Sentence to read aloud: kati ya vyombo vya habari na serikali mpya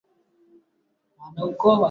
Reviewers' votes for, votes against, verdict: 0, 2, rejected